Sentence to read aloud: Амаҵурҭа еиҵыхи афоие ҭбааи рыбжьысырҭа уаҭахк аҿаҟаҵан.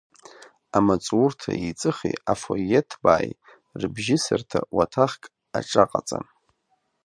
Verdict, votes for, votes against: accepted, 2, 0